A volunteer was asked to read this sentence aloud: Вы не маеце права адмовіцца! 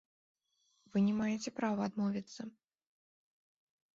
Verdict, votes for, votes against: accepted, 2, 0